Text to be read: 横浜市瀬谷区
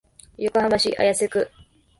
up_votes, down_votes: 0, 3